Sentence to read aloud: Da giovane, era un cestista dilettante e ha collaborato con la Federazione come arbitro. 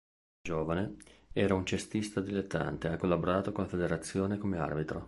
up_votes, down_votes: 1, 2